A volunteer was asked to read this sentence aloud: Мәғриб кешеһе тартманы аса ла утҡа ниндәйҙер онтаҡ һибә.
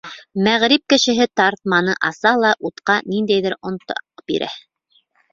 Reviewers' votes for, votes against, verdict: 2, 3, rejected